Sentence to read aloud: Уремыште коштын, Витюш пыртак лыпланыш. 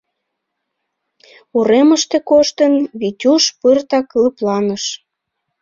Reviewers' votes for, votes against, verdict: 2, 0, accepted